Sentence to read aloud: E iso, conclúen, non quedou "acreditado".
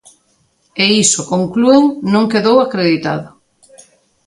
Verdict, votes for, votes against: accepted, 2, 0